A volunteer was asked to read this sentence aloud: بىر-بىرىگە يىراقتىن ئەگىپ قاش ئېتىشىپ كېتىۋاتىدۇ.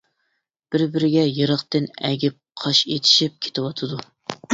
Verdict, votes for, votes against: accepted, 2, 1